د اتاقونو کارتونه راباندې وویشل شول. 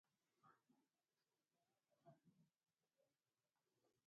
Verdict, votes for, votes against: rejected, 0, 2